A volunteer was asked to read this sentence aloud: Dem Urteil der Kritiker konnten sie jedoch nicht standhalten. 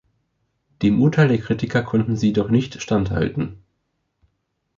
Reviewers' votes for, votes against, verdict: 1, 2, rejected